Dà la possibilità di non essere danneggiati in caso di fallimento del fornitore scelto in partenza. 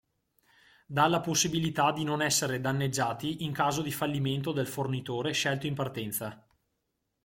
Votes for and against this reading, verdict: 2, 0, accepted